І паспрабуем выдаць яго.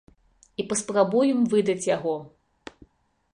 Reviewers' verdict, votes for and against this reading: accepted, 2, 0